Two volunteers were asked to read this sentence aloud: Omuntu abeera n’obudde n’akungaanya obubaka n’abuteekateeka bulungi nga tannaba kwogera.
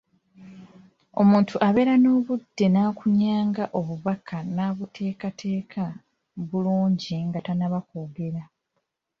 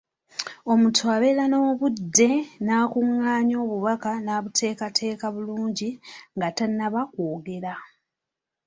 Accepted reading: second